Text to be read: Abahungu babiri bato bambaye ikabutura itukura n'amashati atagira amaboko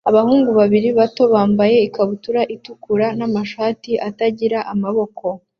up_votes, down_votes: 2, 0